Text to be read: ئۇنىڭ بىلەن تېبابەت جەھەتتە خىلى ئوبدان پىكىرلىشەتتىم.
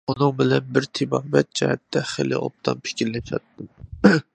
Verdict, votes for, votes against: rejected, 0, 2